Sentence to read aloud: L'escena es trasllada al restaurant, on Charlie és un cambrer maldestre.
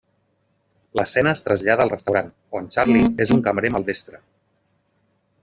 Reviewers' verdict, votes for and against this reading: rejected, 0, 2